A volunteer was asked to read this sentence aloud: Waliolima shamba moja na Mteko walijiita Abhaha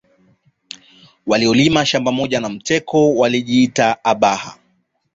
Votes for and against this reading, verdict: 2, 0, accepted